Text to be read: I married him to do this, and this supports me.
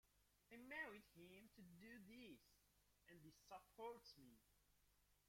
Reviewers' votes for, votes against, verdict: 0, 2, rejected